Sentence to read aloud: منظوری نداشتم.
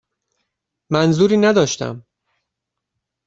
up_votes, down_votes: 2, 0